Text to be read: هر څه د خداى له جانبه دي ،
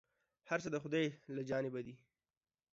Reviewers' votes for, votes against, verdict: 2, 0, accepted